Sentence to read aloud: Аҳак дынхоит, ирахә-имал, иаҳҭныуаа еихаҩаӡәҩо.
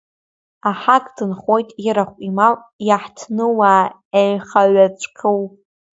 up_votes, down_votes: 1, 3